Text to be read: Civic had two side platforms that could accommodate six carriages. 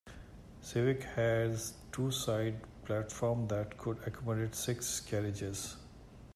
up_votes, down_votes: 0, 2